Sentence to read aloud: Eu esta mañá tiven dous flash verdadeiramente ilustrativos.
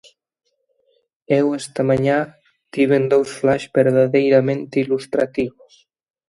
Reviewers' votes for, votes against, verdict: 2, 0, accepted